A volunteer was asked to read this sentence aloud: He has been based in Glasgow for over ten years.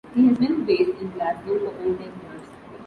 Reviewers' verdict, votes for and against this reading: rejected, 1, 2